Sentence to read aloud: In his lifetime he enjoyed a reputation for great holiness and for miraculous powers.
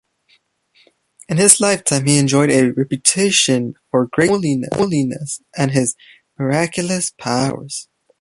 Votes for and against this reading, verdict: 2, 1, accepted